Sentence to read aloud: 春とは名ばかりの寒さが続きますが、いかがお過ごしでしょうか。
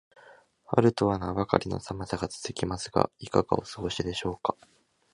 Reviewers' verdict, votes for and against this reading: accepted, 2, 0